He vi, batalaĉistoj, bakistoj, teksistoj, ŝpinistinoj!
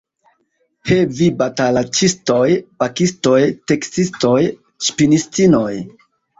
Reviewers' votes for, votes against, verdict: 0, 2, rejected